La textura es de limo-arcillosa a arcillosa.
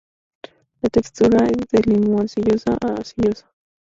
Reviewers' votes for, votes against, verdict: 2, 0, accepted